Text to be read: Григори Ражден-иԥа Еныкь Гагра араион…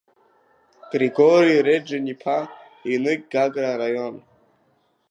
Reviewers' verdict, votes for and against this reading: rejected, 0, 2